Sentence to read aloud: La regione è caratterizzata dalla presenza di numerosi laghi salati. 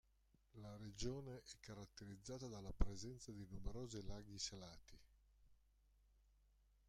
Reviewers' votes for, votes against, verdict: 0, 2, rejected